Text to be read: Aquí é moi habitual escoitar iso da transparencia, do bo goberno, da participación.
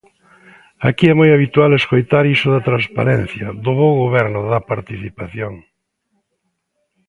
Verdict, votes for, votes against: rejected, 0, 2